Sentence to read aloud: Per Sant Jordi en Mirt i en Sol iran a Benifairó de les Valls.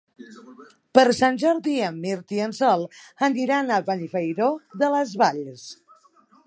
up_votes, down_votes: 2, 3